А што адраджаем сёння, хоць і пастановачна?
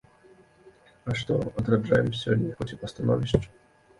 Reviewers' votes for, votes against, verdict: 1, 2, rejected